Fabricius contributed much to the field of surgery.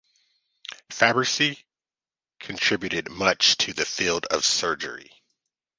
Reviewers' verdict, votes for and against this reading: rejected, 1, 2